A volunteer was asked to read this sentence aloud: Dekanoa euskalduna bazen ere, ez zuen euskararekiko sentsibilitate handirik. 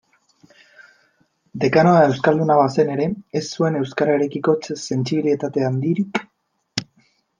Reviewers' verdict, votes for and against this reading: rejected, 0, 2